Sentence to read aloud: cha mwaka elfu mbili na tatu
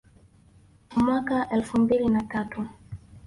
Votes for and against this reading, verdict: 3, 0, accepted